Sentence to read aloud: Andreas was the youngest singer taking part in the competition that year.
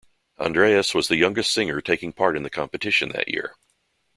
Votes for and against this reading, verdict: 3, 0, accepted